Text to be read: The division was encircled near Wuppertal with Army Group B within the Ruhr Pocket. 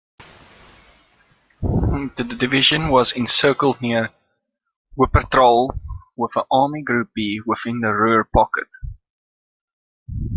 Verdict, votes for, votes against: accepted, 2, 1